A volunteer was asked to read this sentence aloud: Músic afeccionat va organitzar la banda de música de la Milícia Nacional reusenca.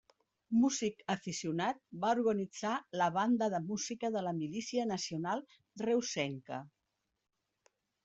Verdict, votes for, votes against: rejected, 0, 2